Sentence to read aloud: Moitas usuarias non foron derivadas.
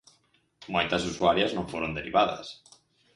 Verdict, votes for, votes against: accepted, 4, 0